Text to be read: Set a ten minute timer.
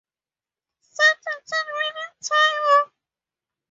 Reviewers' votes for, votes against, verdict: 2, 2, rejected